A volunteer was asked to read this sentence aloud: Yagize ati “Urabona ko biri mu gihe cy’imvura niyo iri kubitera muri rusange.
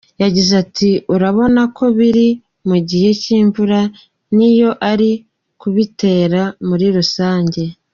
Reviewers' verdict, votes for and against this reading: rejected, 1, 2